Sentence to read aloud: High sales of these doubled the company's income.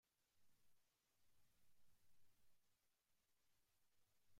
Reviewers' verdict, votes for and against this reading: rejected, 0, 2